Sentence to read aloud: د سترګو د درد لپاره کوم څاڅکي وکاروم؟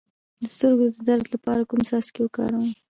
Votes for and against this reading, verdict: 2, 0, accepted